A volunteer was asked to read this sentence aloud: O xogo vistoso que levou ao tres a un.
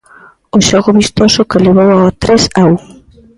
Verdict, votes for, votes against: accepted, 2, 0